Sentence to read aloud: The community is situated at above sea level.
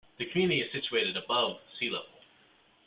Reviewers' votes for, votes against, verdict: 1, 2, rejected